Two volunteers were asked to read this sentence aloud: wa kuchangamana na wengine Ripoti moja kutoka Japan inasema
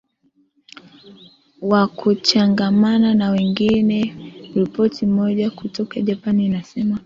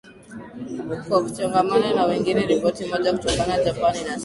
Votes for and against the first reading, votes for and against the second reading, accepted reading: 2, 1, 0, 3, first